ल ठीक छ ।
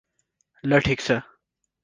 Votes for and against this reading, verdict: 4, 0, accepted